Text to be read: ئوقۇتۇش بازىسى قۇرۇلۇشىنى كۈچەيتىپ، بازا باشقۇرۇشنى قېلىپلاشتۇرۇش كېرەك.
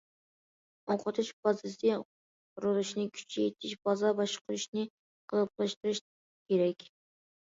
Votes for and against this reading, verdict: 0, 2, rejected